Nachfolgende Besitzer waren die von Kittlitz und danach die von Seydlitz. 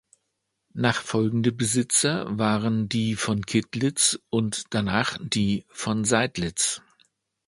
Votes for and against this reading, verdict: 2, 0, accepted